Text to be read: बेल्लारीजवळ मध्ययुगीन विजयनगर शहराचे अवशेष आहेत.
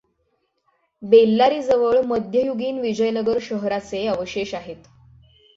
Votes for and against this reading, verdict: 6, 0, accepted